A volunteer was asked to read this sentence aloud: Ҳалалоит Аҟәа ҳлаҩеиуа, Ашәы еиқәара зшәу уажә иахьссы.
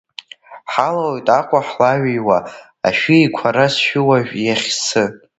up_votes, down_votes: 0, 2